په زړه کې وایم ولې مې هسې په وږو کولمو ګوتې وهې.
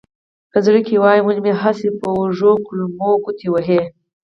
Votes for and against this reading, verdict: 4, 0, accepted